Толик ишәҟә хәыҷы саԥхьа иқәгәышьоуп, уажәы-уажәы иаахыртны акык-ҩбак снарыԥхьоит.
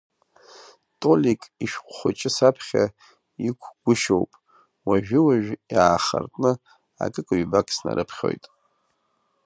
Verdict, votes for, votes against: accepted, 2, 1